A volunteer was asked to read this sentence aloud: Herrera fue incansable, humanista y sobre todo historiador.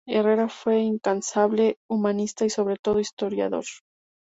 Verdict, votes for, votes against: accepted, 2, 0